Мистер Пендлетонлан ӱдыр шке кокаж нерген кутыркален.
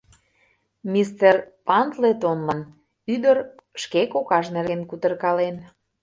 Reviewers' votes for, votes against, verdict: 0, 2, rejected